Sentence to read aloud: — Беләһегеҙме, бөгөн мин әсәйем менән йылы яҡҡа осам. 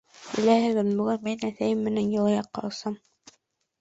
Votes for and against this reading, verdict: 0, 2, rejected